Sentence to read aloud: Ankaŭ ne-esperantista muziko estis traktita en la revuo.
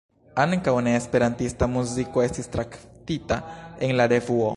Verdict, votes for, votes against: rejected, 0, 2